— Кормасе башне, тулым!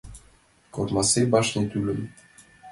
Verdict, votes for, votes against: rejected, 1, 2